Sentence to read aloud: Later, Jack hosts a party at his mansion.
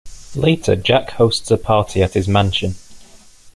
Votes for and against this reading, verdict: 2, 0, accepted